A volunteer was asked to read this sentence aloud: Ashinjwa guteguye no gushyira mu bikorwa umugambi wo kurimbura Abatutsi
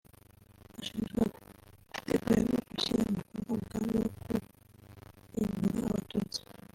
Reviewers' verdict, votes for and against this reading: rejected, 0, 2